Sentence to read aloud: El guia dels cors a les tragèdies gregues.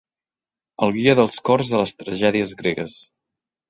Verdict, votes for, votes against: accepted, 4, 0